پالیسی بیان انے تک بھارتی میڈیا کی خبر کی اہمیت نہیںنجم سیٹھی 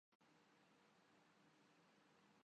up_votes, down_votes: 3, 7